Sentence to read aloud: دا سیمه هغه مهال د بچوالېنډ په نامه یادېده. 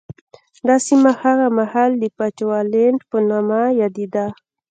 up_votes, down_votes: 2, 0